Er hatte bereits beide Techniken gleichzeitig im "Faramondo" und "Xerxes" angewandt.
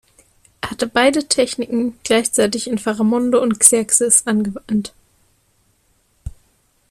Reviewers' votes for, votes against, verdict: 1, 2, rejected